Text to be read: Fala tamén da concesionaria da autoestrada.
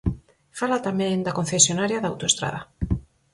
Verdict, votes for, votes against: accepted, 4, 0